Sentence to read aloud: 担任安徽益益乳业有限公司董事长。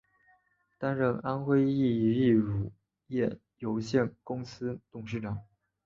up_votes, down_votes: 2, 1